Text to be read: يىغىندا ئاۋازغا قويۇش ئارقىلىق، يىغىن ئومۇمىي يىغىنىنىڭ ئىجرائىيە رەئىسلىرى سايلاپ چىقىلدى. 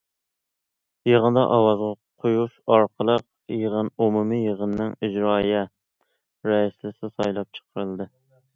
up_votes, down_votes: 0, 2